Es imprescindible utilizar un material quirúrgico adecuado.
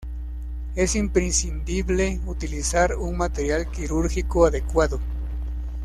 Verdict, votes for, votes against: rejected, 1, 2